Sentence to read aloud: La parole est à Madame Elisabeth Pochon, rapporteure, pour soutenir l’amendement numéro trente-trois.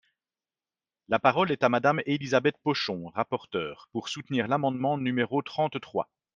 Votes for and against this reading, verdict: 3, 0, accepted